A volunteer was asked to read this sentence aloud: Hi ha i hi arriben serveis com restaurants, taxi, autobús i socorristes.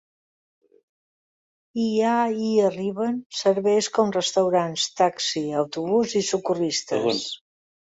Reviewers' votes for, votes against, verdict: 3, 0, accepted